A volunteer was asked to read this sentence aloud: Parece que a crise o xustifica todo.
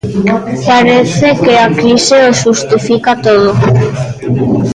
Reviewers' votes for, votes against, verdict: 2, 0, accepted